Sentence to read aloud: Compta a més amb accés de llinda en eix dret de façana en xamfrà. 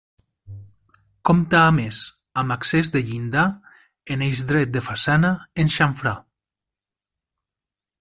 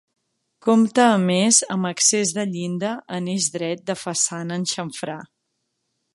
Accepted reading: second